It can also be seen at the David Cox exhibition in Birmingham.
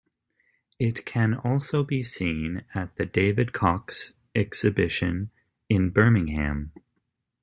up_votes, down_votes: 2, 0